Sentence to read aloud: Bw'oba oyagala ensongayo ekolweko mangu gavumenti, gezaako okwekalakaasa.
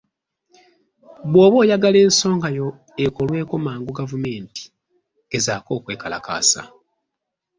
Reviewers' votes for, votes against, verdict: 2, 0, accepted